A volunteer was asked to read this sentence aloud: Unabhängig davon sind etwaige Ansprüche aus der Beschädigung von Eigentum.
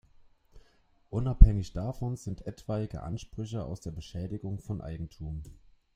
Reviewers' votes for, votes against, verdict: 2, 0, accepted